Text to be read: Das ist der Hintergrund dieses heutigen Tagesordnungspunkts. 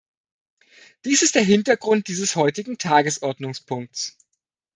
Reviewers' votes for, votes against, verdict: 0, 2, rejected